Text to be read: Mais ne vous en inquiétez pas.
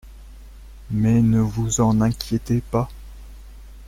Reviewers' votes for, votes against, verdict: 2, 0, accepted